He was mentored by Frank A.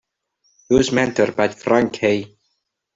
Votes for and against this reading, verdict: 2, 1, accepted